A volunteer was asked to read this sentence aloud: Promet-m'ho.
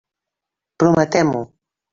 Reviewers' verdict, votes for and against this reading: rejected, 0, 2